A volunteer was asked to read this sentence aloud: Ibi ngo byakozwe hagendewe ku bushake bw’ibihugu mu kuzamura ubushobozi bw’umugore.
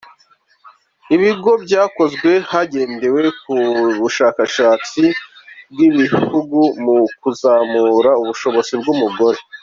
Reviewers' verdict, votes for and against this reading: rejected, 0, 3